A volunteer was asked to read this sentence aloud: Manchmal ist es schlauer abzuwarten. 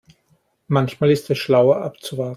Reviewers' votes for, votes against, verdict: 0, 2, rejected